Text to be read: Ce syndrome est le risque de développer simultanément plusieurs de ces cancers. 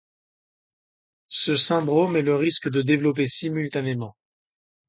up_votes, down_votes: 0, 2